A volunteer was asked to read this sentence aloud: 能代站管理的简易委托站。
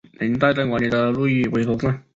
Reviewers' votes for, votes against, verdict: 2, 4, rejected